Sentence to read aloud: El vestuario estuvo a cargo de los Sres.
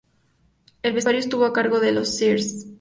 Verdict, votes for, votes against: rejected, 0, 4